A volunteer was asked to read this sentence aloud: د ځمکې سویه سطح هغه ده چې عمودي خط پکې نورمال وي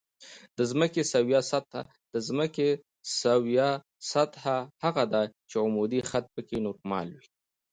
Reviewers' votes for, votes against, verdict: 0, 2, rejected